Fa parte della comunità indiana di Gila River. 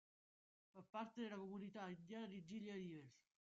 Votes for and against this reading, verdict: 0, 2, rejected